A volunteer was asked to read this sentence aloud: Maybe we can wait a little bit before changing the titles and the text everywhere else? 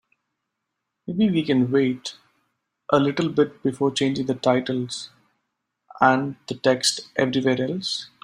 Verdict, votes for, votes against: accepted, 2, 0